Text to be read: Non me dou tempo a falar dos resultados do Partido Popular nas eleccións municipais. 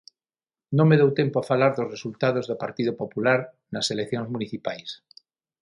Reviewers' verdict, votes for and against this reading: accepted, 6, 0